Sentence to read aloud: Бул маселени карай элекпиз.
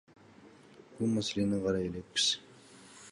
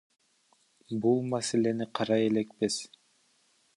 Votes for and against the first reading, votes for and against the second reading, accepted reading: 2, 0, 1, 2, first